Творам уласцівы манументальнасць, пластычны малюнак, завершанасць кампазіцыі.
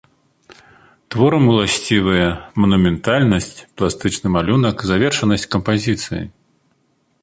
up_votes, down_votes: 0, 2